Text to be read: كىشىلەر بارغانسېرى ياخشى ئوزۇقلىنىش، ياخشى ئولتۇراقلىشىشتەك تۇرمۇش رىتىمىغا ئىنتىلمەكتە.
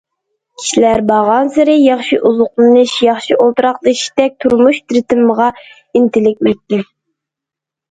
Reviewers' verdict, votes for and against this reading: rejected, 0, 2